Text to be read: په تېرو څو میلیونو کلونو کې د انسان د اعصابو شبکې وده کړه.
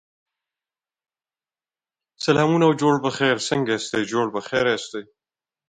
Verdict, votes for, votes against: rejected, 1, 2